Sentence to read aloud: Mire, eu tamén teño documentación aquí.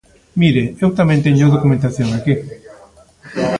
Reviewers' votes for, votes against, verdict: 2, 0, accepted